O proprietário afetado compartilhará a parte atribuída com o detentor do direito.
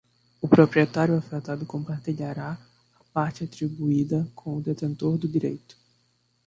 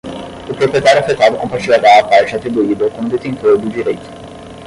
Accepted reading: first